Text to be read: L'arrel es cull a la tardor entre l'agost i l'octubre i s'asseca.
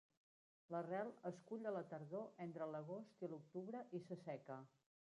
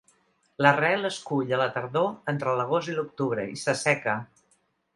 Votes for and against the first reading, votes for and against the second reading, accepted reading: 1, 2, 2, 0, second